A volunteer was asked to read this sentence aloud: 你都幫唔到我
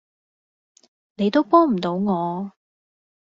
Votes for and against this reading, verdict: 2, 0, accepted